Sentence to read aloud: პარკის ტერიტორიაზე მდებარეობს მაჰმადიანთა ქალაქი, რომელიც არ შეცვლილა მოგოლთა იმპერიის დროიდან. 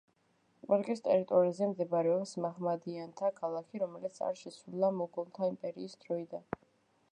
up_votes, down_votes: 0, 2